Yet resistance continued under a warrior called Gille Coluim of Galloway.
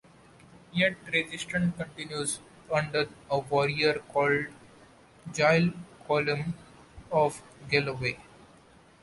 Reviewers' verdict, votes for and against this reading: rejected, 1, 2